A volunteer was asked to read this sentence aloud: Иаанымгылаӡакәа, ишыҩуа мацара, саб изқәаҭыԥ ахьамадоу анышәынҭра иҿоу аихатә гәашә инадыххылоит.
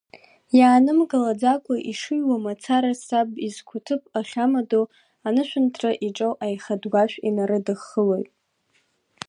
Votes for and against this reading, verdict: 0, 3, rejected